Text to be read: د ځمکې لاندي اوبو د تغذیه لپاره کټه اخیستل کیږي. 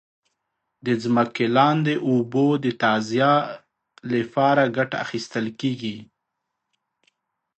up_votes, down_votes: 0, 2